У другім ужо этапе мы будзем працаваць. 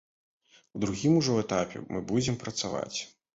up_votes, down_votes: 2, 0